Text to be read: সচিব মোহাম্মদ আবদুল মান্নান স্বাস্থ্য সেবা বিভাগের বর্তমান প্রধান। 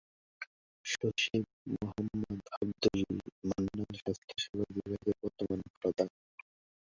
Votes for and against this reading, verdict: 1, 2, rejected